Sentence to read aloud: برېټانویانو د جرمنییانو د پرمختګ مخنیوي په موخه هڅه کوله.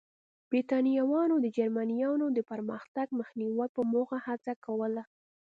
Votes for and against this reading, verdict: 2, 0, accepted